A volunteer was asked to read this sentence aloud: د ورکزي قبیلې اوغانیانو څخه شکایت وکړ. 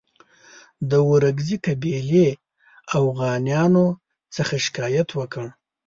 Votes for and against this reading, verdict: 2, 0, accepted